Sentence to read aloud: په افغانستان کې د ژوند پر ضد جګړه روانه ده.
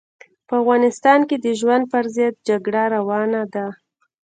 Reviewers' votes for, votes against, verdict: 2, 1, accepted